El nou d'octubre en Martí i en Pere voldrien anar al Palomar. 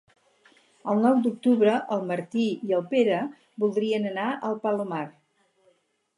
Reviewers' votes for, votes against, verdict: 0, 2, rejected